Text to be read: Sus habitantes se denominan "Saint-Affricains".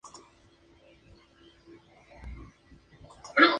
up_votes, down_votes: 0, 2